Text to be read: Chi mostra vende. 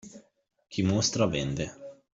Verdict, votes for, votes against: accepted, 2, 0